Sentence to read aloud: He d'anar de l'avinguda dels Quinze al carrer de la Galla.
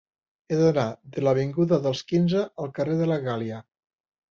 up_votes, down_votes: 0, 2